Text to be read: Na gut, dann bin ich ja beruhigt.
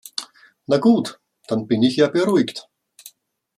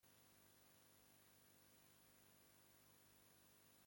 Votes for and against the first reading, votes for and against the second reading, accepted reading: 2, 0, 0, 2, first